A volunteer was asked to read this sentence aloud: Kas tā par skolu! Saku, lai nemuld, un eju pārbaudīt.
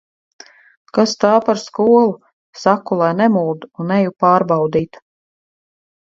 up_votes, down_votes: 4, 0